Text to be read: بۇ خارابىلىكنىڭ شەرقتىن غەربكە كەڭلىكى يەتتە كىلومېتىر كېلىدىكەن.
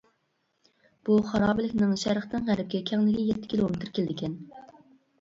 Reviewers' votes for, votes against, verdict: 2, 1, accepted